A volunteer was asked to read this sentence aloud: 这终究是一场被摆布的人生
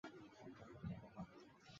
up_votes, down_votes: 0, 2